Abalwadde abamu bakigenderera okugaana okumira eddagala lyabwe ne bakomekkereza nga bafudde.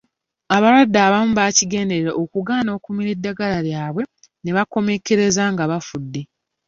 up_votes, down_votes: 2, 1